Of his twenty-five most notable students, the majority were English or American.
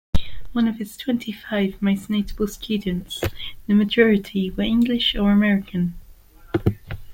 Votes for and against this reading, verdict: 0, 2, rejected